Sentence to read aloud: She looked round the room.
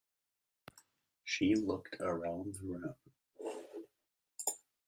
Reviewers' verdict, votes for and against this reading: rejected, 1, 2